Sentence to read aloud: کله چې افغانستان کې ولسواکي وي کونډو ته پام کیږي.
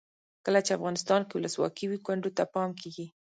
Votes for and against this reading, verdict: 0, 2, rejected